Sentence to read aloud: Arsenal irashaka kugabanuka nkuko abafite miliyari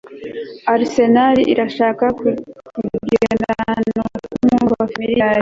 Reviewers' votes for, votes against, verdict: 1, 2, rejected